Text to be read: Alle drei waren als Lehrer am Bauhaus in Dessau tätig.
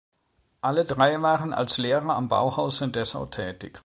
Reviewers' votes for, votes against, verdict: 2, 0, accepted